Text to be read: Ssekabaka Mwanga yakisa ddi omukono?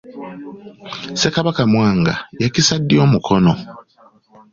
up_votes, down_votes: 2, 0